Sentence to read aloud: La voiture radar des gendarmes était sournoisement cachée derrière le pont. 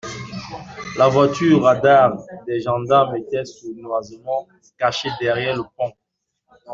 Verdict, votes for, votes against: rejected, 1, 2